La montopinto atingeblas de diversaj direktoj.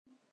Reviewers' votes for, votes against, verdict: 1, 2, rejected